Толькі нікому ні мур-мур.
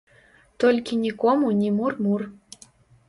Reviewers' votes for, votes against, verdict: 2, 0, accepted